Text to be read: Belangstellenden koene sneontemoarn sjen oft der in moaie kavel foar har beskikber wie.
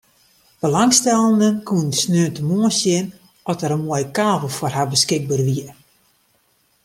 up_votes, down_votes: 2, 0